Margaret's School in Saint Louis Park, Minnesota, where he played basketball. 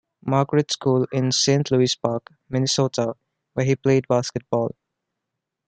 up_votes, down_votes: 1, 2